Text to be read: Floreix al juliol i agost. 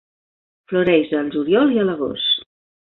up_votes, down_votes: 1, 2